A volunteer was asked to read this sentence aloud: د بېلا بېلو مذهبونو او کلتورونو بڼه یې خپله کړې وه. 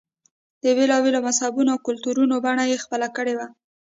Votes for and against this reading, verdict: 1, 2, rejected